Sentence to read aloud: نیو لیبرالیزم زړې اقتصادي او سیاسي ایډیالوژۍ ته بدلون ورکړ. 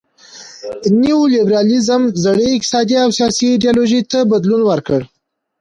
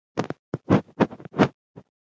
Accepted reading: first